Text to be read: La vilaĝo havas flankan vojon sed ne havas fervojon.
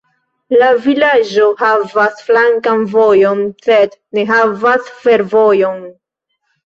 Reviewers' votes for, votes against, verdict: 2, 0, accepted